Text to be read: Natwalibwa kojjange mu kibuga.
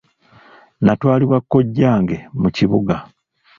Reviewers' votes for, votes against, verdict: 2, 0, accepted